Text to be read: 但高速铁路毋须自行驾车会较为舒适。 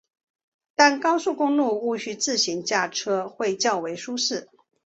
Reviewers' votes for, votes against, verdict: 2, 1, accepted